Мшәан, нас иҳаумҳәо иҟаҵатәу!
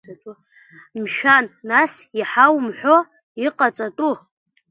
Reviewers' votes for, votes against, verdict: 1, 2, rejected